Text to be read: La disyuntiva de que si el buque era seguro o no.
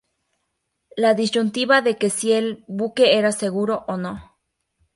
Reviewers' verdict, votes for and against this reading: accepted, 4, 0